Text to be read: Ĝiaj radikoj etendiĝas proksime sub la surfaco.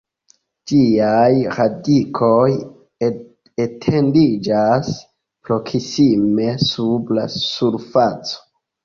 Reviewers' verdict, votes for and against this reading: accepted, 2, 0